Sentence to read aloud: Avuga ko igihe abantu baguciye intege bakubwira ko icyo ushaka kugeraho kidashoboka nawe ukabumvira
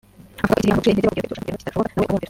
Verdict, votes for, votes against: rejected, 1, 3